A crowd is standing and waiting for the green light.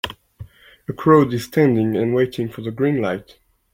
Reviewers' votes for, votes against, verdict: 1, 2, rejected